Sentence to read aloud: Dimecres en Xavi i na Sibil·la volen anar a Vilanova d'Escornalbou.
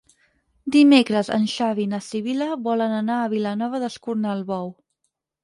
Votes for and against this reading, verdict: 6, 0, accepted